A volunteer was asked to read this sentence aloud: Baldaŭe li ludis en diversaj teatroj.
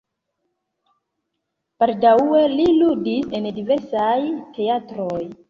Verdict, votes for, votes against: rejected, 1, 2